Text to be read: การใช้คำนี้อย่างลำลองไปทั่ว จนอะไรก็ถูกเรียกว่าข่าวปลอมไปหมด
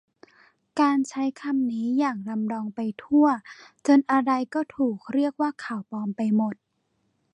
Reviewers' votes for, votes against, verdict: 2, 0, accepted